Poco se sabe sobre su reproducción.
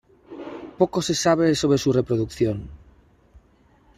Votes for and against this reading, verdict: 3, 0, accepted